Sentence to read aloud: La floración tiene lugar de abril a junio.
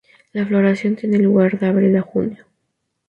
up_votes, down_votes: 2, 0